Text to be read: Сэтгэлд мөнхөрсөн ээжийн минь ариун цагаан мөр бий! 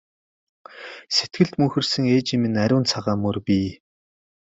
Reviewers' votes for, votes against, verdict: 2, 0, accepted